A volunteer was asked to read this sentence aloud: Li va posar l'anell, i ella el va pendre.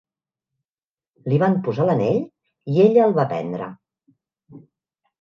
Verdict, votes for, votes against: rejected, 1, 2